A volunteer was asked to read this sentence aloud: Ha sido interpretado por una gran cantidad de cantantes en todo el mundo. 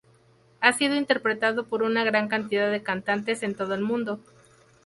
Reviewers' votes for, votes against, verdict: 4, 0, accepted